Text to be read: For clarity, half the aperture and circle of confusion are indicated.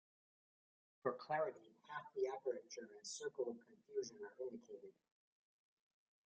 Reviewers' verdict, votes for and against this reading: rejected, 1, 2